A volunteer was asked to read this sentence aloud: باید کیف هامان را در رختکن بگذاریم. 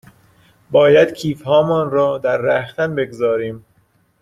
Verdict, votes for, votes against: rejected, 1, 2